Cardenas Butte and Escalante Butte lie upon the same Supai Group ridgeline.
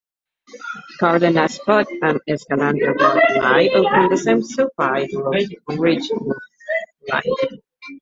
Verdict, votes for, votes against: rejected, 0, 2